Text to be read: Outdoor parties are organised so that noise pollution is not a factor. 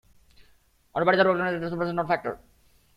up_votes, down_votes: 0, 2